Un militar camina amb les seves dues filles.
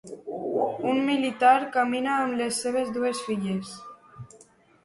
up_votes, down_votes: 2, 0